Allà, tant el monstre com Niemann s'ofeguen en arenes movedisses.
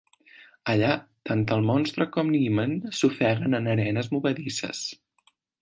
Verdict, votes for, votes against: accepted, 2, 0